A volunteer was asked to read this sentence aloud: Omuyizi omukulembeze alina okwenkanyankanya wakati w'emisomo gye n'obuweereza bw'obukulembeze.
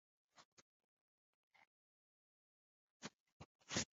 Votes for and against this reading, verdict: 1, 3, rejected